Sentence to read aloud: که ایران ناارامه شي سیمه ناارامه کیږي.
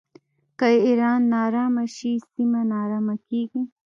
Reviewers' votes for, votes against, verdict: 2, 1, accepted